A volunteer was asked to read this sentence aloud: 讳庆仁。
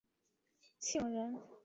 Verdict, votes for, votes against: rejected, 3, 4